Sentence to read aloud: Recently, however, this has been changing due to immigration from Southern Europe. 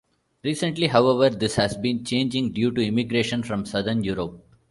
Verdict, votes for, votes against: accepted, 2, 0